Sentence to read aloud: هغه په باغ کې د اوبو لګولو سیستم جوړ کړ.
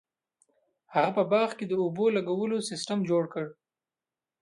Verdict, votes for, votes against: accepted, 2, 0